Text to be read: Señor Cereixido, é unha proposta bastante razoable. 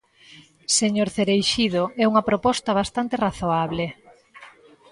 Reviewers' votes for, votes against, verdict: 2, 0, accepted